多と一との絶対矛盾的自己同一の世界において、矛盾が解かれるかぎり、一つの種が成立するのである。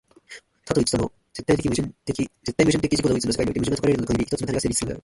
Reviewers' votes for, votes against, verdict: 0, 2, rejected